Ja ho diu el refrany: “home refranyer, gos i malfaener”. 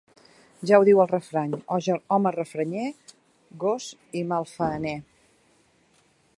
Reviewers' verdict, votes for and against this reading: rejected, 0, 2